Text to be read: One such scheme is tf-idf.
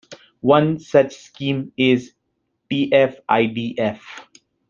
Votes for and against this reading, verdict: 2, 0, accepted